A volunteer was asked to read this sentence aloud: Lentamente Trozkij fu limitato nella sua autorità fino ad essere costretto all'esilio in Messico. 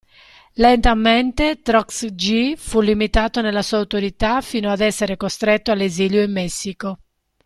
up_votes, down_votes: 1, 2